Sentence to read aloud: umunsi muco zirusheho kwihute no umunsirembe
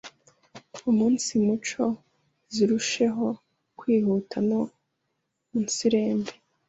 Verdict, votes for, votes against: rejected, 1, 2